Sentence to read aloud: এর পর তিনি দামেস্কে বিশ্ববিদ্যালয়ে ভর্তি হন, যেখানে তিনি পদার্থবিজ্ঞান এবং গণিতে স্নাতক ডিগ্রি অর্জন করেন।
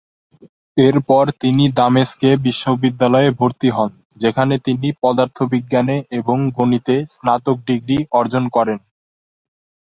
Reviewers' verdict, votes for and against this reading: rejected, 2, 2